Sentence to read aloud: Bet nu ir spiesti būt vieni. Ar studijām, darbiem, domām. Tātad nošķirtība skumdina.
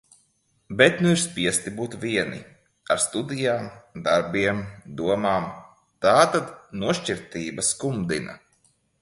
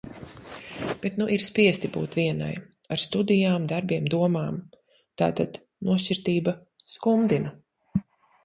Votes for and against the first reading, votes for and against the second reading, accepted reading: 2, 1, 0, 2, first